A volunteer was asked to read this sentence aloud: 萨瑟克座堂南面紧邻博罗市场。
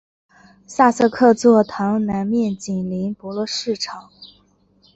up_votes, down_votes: 2, 0